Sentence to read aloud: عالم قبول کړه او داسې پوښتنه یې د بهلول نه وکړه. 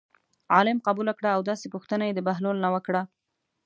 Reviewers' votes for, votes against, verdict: 2, 0, accepted